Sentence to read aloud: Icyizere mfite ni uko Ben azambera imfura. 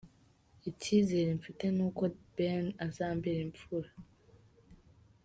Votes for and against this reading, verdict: 2, 1, accepted